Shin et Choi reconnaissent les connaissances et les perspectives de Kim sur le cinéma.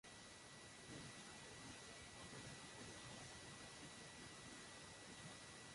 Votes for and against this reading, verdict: 0, 2, rejected